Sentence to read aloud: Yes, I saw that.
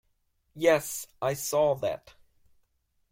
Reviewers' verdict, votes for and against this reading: accepted, 2, 0